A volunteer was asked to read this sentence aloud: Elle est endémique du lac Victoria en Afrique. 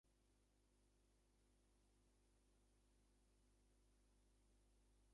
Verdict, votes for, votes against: rejected, 0, 2